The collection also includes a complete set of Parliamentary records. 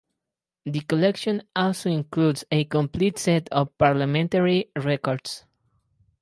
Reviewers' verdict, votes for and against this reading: accepted, 4, 0